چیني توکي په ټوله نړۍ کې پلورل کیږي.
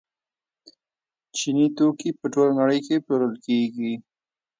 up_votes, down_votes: 0, 2